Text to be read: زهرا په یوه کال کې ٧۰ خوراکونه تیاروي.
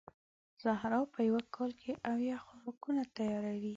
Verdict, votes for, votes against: rejected, 0, 2